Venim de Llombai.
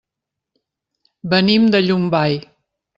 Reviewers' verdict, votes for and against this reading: accepted, 3, 0